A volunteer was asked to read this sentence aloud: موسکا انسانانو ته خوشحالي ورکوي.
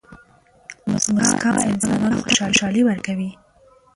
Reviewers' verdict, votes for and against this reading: rejected, 0, 2